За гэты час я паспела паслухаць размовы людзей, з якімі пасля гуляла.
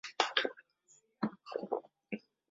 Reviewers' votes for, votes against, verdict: 0, 2, rejected